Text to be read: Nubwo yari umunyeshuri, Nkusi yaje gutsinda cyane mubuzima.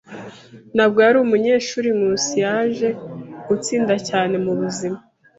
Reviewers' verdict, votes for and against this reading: accepted, 2, 0